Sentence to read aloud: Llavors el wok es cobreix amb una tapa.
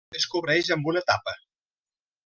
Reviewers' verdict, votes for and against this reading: rejected, 0, 2